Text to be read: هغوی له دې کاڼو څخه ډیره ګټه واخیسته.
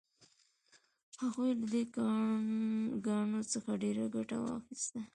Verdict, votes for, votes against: accepted, 2, 0